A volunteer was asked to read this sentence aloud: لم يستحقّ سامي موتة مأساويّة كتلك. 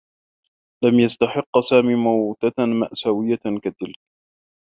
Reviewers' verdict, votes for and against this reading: accepted, 2, 1